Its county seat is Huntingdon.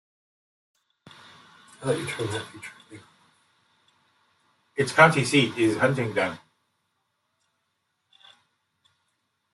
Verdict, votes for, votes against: rejected, 1, 2